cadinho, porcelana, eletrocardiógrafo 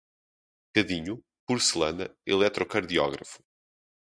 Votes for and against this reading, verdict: 2, 0, accepted